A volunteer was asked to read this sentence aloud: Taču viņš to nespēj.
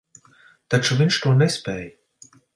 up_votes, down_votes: 0, 2